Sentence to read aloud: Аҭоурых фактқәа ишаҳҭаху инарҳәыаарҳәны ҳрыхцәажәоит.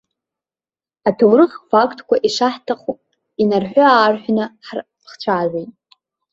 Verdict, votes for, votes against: rejected, 1, 2